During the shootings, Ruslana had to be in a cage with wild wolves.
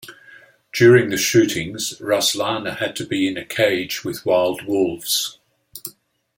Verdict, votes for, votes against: accepted, 2, 0